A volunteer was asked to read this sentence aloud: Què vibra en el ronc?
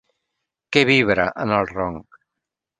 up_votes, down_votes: 3, 0